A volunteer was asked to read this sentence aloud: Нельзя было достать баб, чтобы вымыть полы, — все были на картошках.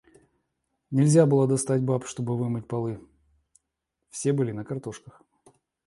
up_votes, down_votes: 2, 0